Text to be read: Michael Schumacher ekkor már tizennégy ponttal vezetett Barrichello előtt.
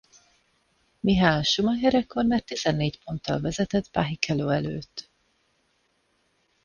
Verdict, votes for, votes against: rejected, 0, 2